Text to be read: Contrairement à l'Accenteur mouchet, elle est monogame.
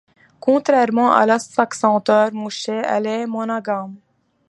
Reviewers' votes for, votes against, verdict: 1, 2, rejected